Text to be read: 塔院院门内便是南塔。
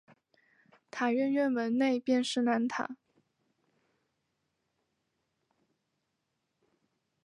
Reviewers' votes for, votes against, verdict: 1, 2, rejected